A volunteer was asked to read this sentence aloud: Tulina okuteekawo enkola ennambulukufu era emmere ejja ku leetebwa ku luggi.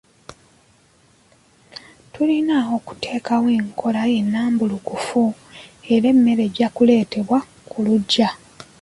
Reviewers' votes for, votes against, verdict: 1, 2, rejected